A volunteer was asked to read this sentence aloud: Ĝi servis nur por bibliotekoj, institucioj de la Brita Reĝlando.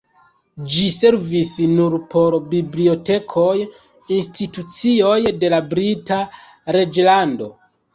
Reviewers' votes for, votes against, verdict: 2, 0, accepted